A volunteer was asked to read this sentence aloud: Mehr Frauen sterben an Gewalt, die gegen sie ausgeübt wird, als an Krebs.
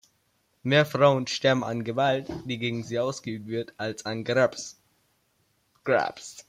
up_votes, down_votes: 0, 2